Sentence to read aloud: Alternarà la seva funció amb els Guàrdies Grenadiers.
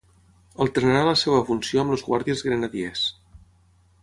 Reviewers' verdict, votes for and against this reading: rejected, 6, 6